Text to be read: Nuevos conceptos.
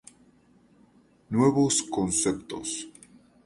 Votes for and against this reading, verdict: 2, 0, accepted